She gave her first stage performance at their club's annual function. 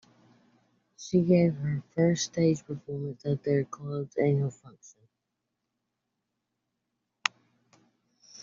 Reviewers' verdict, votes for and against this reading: rejected, 0, 2